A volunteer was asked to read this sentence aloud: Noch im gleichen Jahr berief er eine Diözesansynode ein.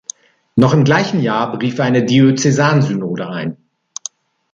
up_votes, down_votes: 5, 0